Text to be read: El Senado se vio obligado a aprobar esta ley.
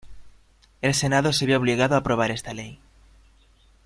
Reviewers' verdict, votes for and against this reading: accepted, 2, 0